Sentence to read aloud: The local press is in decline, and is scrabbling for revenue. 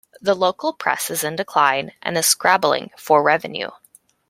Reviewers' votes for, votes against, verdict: 2, 0, accepted